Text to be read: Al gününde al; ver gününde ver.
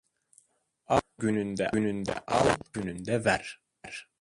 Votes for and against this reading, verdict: 0, 2, rejected